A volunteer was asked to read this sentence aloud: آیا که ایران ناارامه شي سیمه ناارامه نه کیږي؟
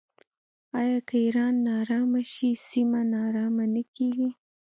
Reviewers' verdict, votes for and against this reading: accepted, 2, 0